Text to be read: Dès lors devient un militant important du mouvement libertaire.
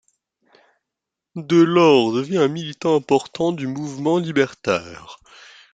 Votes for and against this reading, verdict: 0, 2, rejected